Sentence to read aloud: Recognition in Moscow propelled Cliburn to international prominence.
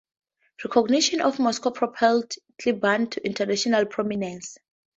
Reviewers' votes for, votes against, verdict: 0, 2, rejected